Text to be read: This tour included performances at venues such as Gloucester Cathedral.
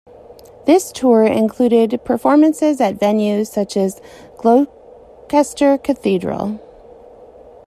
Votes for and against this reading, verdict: 1, 2, rejected